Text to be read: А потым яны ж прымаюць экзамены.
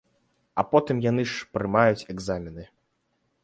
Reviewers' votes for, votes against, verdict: 2, 0, accepted